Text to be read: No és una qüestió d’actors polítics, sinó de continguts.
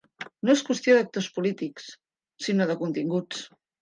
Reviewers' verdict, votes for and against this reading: rejected, 0, 2